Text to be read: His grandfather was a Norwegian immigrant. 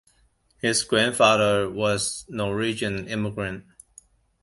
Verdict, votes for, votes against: accepted, 2, 1